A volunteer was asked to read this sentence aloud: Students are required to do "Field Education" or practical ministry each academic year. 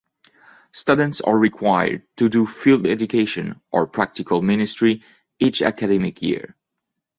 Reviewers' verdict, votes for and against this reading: accepted, 2, 0